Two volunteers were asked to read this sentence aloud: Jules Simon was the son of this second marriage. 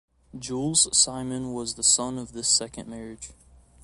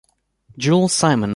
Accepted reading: first